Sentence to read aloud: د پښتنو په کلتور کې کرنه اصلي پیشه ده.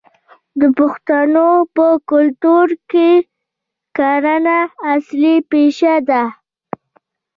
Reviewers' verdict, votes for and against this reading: rejected, 1, 2